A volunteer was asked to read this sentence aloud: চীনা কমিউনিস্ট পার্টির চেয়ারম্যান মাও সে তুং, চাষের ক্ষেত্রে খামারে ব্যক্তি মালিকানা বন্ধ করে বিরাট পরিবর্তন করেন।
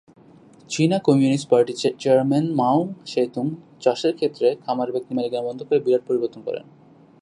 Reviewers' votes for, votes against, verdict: 0, 2, rejected